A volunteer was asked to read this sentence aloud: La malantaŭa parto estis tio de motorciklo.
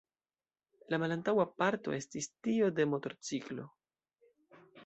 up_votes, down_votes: 2, 0